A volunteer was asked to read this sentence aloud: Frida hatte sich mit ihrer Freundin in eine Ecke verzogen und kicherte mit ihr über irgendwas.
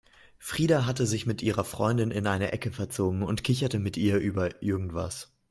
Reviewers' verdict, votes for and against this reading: accepted, 2, 0